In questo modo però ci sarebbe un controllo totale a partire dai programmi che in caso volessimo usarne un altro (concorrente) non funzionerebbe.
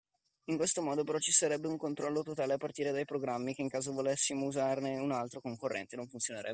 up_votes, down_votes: 2, 1